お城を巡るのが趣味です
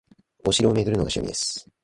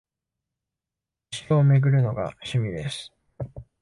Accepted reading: first